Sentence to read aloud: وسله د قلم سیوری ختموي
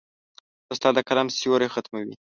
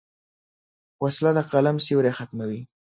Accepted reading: second